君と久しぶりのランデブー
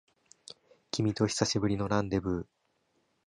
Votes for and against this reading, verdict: 2, 0, accepted